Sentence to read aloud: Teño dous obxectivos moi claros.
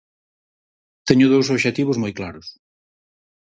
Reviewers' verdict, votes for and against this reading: accepted, 4, 0